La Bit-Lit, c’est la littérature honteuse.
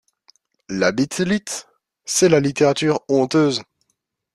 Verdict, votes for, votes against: rejected, 0, 2